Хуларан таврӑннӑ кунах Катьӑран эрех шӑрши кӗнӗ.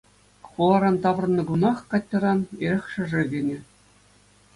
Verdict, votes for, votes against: accepted, 2, 0